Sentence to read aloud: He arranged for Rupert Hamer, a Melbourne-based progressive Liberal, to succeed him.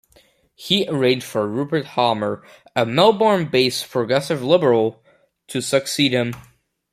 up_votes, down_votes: 3, 0